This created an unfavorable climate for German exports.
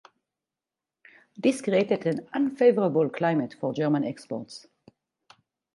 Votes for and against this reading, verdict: 4, 0, accepted